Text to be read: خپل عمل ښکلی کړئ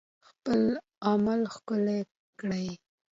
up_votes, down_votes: 2, 0